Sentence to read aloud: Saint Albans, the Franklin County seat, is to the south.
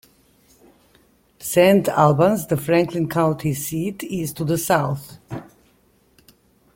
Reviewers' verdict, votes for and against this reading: rejected, 1, 2